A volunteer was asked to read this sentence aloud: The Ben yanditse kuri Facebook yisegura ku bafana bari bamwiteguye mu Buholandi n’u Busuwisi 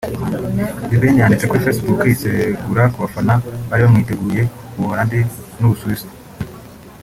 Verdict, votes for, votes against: accepted, 2, 0